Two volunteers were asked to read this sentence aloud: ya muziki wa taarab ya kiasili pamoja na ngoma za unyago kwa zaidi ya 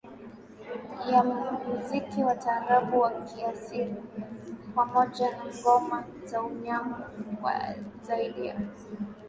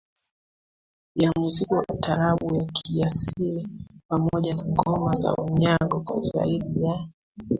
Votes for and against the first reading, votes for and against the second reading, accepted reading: 4, 0, 1, 2, first